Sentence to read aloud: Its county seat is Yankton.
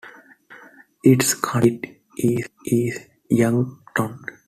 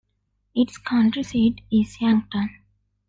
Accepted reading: second